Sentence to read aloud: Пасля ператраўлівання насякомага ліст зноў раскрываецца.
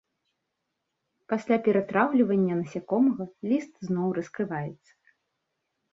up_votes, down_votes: 2, 0